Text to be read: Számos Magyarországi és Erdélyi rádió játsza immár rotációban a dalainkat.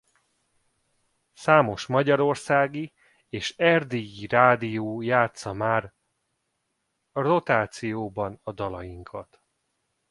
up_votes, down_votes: 0, 2